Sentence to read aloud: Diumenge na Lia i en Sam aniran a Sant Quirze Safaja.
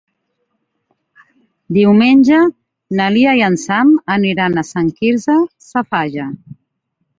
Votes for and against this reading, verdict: 5, 0, accepted